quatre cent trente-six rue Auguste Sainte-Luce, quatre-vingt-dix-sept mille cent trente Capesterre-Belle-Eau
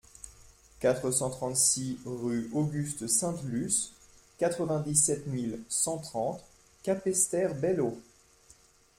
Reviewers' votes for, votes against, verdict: 2, 0, accepted